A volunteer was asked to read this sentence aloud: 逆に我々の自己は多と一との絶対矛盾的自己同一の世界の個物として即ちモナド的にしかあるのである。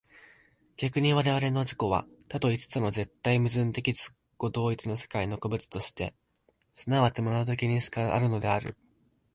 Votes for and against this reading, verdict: 0, 2, rejected